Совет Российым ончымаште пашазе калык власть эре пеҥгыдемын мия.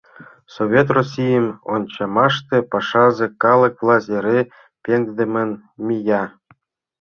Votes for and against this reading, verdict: 1, 2, rejected